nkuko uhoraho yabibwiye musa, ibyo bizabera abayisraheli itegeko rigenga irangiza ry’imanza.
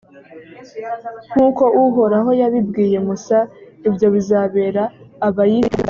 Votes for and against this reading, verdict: 0, 3, rejected